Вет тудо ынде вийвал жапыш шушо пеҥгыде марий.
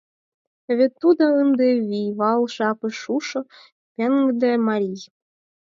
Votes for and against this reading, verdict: 4, 0, accepted